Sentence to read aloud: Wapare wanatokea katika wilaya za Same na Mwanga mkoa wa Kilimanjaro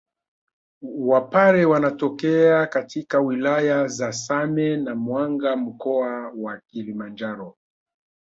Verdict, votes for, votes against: accepted, 2, 0